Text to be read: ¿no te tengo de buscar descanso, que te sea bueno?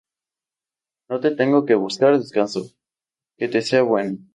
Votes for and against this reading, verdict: 0, 2, rejected